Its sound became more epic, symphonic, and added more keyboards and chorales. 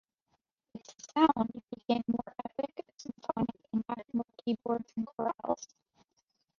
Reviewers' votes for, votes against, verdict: 2, 1, accepted